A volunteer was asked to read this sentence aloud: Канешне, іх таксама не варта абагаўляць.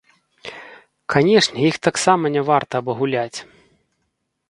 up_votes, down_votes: 1, 2